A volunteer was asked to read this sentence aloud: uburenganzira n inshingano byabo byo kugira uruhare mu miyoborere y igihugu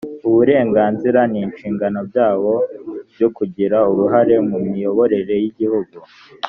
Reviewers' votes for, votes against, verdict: 2, 0, accepted